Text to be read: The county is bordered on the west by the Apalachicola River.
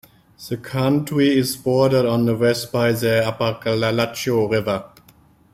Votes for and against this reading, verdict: 1, 2, rejected